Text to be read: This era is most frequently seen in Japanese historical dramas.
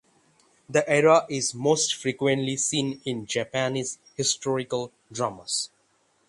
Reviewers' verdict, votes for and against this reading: rejected, 0, 6